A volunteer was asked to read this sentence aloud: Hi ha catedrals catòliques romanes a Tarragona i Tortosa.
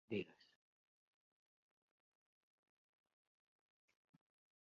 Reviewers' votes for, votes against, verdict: 0, 2, rejected